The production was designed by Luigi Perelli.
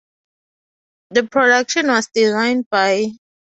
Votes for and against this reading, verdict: 0, 2, rejected